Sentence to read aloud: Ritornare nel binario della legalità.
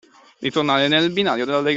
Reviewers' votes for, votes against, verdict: 0, 2, rejected